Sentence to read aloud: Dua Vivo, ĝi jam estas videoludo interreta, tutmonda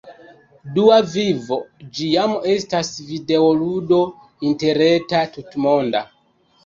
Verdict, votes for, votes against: rejected, 1, 2